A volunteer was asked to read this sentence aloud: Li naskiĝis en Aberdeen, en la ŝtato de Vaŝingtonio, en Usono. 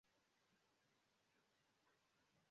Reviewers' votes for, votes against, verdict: 0, 2, rejected